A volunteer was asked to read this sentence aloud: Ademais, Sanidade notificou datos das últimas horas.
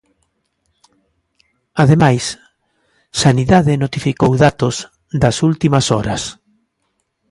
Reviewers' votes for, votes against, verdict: 2, 0, accepted